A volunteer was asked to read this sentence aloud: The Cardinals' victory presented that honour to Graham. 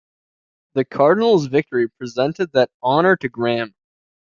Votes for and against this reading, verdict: 2, 0, accepted